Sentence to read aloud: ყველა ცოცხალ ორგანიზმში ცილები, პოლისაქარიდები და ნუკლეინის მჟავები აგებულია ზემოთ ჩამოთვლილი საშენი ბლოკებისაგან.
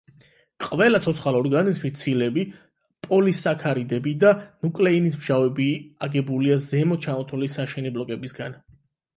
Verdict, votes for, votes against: rejected, 0, 8